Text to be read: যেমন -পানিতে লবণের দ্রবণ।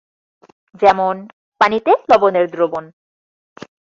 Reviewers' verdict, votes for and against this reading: accepted, 6, 0